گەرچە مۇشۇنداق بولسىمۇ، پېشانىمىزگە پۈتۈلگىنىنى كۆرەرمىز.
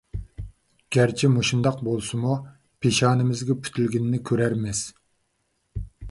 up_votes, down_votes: 2, 0